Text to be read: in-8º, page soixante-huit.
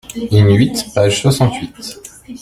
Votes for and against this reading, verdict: 0, 2, rejected